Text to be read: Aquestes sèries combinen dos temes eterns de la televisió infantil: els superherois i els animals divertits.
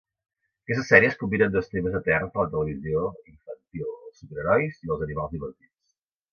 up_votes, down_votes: 1, 2